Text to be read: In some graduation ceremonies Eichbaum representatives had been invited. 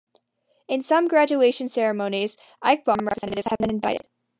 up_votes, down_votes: 1, 2